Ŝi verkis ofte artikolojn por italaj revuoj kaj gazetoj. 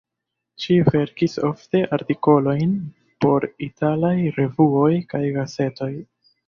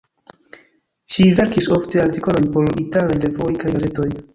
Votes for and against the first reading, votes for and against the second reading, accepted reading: 2, 0, 2, 3, first